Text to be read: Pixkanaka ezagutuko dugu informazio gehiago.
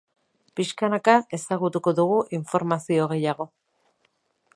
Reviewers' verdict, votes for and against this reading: accepted, 4, 0